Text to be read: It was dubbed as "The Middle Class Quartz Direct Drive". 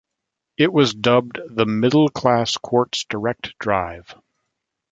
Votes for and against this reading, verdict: 2, 3, rejected